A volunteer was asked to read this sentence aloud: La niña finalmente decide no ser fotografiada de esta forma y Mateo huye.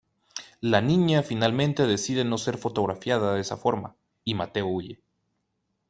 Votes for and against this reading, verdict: 0, 2, rejected